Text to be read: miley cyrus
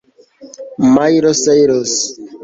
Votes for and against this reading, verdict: 0, 2, rejected